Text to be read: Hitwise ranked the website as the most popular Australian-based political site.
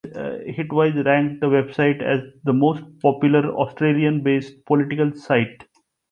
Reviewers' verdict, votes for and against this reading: accepted, 2, 0